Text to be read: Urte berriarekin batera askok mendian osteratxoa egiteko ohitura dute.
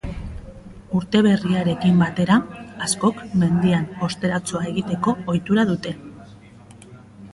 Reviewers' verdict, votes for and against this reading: accepted, 2, 0